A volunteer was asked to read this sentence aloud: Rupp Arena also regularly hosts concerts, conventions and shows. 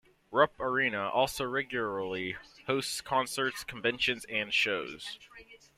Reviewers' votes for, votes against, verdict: 2, 1, accepted